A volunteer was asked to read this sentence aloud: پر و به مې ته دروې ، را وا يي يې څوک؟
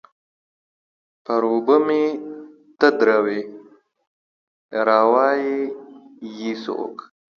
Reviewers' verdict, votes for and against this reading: rejected, 0, 2